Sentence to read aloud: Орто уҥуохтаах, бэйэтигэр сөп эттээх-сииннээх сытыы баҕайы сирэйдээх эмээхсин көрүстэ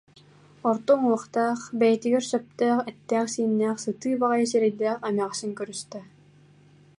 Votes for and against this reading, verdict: 2, 4, rejected